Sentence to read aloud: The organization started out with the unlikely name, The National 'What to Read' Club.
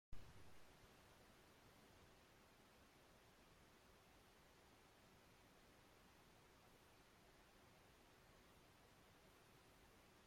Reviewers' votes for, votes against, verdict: 0, 2, rejected